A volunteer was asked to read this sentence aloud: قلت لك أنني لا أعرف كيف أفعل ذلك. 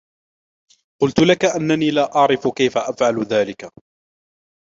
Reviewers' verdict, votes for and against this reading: accepted, 2, 0